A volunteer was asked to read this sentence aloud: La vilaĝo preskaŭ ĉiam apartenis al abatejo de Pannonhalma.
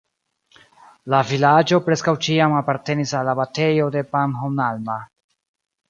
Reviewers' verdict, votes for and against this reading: rejected, 1, 2